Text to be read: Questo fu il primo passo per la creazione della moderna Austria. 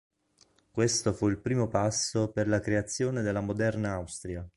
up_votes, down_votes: 5, 0